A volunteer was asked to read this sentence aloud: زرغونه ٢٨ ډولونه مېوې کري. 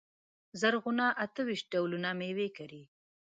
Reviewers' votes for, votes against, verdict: 0, 2, rejected